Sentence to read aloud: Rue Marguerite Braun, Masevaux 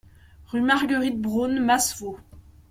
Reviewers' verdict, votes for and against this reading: accepted, 2, 0